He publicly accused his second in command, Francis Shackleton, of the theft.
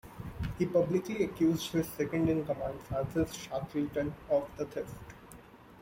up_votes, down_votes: 2, 0